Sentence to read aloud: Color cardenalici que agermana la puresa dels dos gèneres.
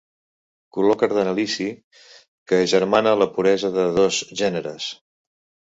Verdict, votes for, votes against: rejected, 1, 2